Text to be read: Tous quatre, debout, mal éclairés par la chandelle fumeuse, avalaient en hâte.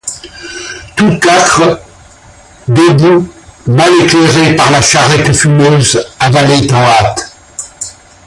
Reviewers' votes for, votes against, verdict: 1, 2, rejected